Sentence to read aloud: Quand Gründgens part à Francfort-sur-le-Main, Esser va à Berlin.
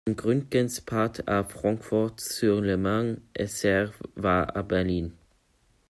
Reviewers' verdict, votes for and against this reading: rejected, 1, 2